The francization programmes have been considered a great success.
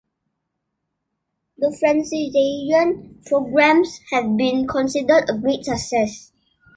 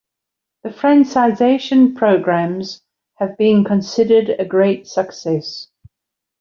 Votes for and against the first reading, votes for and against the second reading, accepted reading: 1, 2, 2, 0, second